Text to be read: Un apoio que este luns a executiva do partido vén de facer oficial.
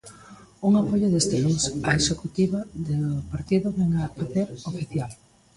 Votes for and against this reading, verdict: 0, 2, rejected